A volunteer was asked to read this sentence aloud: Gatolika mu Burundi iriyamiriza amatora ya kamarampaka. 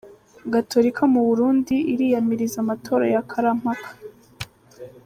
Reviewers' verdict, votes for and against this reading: rejected, 0, 2